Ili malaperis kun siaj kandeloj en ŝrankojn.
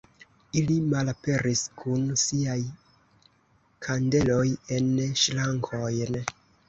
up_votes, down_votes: 0, 2